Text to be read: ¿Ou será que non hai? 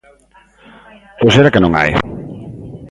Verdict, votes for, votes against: accepted, 2, 0